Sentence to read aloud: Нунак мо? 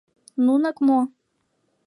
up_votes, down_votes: 2, 0